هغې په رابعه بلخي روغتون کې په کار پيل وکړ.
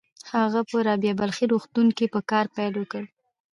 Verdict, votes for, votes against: rejected, 1, 2